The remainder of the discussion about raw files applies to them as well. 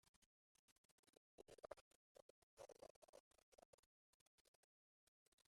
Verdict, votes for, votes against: rejected, 0, 2